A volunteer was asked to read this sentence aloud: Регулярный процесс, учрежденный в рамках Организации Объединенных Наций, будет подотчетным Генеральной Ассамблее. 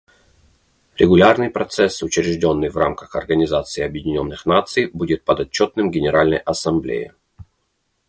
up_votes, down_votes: 2, 0